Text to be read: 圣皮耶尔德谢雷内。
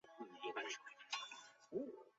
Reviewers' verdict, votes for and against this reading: rejected, 0, 3